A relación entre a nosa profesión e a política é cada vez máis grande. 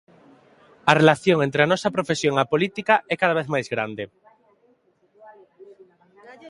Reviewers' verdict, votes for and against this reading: accepted, 2, 0